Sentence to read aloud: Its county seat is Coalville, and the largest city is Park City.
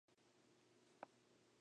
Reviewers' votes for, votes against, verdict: 0, 2, rejected